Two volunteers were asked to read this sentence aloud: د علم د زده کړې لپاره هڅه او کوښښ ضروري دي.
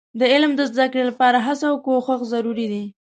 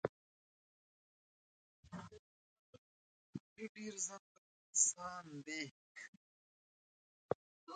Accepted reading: first